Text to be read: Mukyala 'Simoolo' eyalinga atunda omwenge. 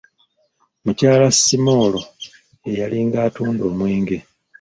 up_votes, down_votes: 2, 0